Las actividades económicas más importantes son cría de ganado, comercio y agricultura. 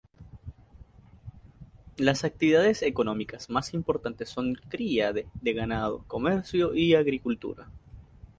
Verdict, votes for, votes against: accepted, 2, 0